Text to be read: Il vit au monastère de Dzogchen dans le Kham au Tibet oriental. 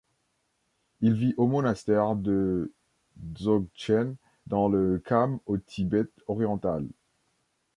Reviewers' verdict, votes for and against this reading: rejected, 2, 3